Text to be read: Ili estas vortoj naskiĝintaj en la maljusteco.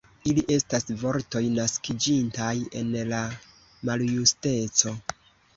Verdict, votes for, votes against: rejected, 1, 2